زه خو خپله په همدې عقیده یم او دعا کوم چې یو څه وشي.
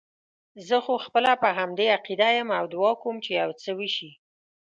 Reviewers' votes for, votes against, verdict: 2, 0, accepted